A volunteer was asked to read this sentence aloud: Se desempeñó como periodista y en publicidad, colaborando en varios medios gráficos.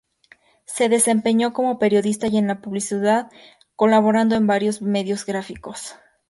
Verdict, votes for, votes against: accepted, 2, 0